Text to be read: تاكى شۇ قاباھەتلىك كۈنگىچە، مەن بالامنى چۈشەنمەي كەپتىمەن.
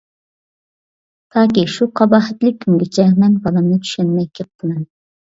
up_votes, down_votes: 2, 0